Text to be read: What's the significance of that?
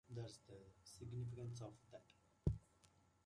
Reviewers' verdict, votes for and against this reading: rejected, 0, 2